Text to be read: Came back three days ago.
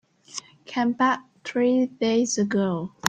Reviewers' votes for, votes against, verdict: 1, 2, rejected